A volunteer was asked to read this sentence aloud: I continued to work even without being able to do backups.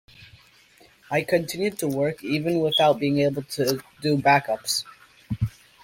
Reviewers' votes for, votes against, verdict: 2, 0, accepted